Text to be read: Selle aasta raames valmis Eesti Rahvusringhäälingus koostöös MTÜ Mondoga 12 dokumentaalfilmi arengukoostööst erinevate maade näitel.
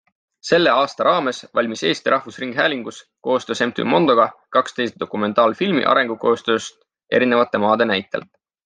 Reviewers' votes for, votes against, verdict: 0, 2, rejected